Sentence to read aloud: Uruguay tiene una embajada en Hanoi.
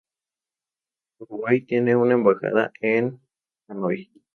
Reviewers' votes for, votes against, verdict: 0, 2, rejected